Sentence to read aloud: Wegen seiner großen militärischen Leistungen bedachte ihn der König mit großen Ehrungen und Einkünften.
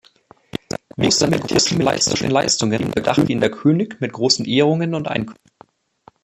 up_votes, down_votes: 0, 2